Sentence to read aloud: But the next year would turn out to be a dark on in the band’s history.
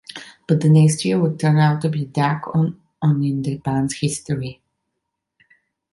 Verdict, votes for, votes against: rejected, 0, 2